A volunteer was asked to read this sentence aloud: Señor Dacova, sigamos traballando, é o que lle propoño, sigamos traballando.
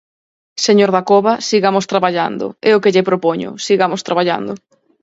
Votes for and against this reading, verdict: 4, 0, accepted